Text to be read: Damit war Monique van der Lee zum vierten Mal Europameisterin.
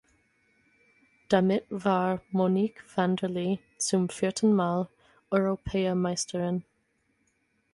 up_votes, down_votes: 0, 4